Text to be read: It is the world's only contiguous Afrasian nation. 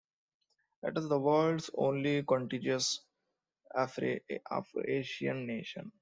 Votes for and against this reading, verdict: 0, 2, rejected